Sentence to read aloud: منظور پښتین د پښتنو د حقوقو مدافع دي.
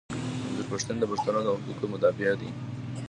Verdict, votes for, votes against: rejected, 0, 2